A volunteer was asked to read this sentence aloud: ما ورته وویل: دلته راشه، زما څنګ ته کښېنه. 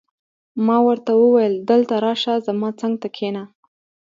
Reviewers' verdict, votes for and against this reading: accepted, 2, 0